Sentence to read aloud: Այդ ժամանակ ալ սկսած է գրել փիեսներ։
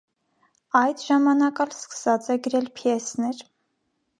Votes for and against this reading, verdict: 2, 0, accepted